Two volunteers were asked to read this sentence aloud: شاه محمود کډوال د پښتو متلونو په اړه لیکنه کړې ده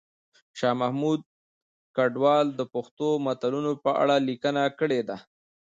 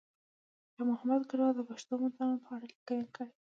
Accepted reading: second